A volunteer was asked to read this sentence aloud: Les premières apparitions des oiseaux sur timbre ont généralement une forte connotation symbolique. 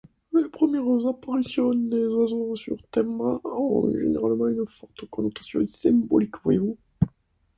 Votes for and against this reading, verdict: 2, 0, accepted